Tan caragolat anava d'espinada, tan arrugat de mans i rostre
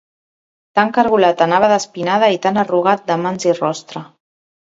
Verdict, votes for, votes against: rejected, 0, 2